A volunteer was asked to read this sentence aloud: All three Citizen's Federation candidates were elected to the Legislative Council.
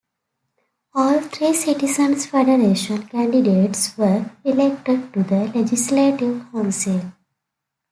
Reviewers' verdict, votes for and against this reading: accepted, 2, 0